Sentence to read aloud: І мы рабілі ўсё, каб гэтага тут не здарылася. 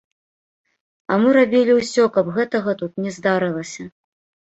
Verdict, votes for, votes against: rejected, 1, 2